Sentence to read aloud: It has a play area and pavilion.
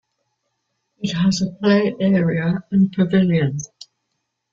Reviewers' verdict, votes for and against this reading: accepted, 2, 1